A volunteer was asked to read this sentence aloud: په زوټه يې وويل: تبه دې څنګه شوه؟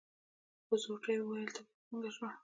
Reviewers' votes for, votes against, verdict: 1, 2, rejected